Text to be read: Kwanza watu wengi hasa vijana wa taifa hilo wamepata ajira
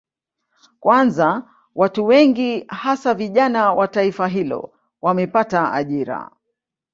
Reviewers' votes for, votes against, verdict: 5, 0, accepted